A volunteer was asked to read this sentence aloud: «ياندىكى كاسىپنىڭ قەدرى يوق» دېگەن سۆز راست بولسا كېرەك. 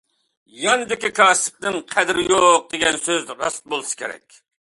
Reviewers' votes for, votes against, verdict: 2, 0, accepted